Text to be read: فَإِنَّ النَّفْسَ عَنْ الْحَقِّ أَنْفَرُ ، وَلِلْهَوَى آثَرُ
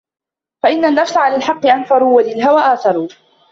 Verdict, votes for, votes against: accepted, 2, 0